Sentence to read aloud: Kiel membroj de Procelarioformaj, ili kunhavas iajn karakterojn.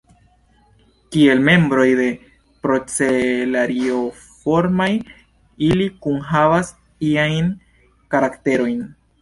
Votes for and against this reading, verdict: 2, 0, accepted